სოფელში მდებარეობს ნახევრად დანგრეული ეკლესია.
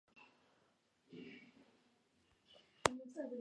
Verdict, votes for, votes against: rejected, 1, 2